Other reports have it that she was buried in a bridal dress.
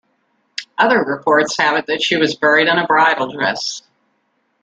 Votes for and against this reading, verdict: 2, 1, accepted